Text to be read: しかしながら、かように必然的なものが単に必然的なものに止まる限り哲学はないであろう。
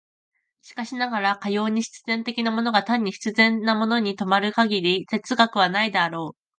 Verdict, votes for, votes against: rejected, 1, 2